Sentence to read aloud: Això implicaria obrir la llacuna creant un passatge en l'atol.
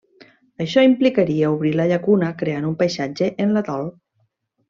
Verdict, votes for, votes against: rejected, 1, 2